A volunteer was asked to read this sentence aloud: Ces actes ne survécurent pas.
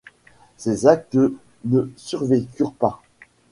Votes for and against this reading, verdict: 1, 2, rejected